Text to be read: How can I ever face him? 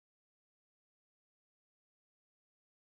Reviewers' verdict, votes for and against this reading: rejected, 0, 4